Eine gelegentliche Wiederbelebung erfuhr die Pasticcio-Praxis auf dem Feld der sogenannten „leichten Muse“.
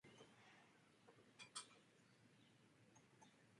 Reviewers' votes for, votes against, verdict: 0, 3, rejected